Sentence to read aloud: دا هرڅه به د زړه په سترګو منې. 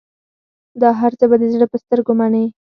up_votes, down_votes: 2, 4